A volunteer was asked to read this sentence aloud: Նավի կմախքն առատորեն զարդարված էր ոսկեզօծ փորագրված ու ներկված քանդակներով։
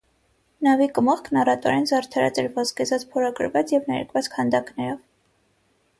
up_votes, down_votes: 0, 6